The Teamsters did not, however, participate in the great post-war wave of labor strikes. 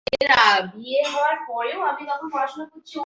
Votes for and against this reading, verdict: 0, 2, rejected